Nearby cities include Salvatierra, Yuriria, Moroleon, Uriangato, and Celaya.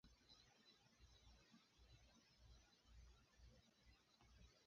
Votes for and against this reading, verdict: 0, 3, rejected